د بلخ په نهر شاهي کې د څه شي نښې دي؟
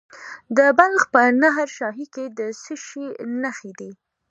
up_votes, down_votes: 2, 0